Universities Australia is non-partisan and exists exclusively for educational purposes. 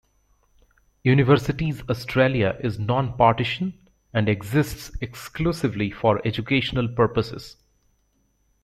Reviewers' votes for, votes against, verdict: 1, 2, rejected